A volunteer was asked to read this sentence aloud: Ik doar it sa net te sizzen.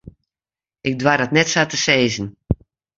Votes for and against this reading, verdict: 1, 2, rejected